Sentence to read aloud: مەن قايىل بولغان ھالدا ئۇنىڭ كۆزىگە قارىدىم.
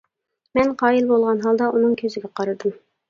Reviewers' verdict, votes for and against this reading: accepted, 2, 0